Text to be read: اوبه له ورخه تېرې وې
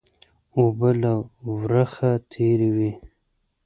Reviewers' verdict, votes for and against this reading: accepted, 2, 0